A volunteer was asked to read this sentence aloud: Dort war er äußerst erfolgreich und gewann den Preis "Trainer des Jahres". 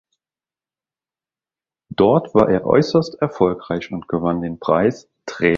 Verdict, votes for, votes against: rejected, 0, 2